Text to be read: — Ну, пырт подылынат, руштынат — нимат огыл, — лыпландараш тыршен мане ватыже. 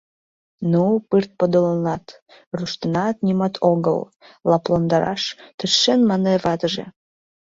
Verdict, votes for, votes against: accepted, 3, 1